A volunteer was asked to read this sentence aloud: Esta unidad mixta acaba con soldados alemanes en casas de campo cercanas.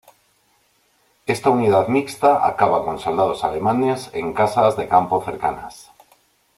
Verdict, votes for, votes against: accepted, 2, 0